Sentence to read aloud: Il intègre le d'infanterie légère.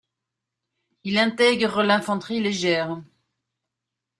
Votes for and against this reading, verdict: 0, 2, rejected